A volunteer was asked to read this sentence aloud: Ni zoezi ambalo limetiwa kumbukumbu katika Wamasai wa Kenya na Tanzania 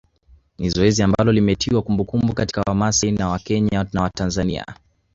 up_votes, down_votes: 3, 0